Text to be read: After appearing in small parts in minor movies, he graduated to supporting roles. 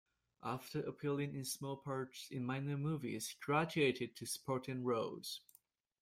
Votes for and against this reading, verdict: 1, 2, rejected